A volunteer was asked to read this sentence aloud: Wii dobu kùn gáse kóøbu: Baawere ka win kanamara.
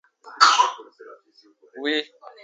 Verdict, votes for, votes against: rejected, 0, 2